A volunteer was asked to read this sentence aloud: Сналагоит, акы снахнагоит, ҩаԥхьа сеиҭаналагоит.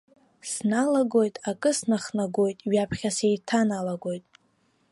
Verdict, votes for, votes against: accepted, 3, 0